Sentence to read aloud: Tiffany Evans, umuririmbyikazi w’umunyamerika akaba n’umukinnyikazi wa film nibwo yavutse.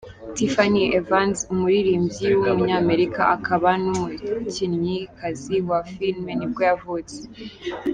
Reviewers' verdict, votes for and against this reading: accepted, 2, 1